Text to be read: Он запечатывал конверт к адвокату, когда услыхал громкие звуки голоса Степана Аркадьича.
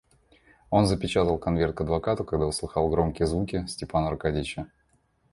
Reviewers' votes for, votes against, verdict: 0, 2, rejected